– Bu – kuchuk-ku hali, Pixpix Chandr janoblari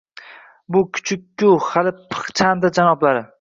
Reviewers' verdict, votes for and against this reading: rejected, 0, 2